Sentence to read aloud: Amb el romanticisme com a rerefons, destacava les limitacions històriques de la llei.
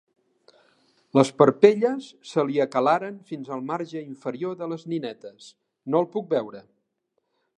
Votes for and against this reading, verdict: 0, 2, rejected